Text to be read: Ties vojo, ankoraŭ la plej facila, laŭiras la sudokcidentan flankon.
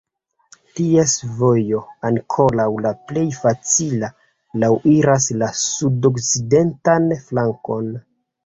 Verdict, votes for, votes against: rejected, 0, 2